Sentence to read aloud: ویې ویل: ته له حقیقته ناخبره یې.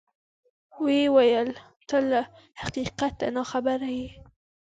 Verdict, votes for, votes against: accepted, 2, 0